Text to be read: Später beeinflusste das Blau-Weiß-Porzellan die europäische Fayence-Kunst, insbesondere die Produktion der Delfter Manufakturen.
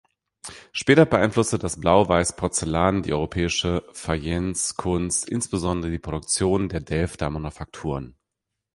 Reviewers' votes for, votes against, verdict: 1, 2, rejected